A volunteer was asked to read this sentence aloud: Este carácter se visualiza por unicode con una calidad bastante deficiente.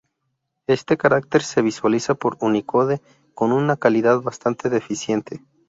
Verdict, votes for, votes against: accepted, 2, 0